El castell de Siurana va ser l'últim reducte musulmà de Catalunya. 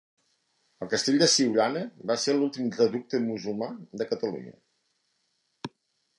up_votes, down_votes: 2, 0